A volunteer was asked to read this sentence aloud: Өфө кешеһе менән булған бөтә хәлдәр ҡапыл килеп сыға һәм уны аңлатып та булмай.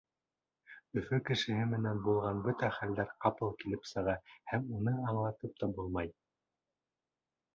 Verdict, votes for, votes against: accepted, 2, 0